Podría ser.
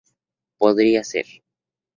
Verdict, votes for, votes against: accepted, 4, 0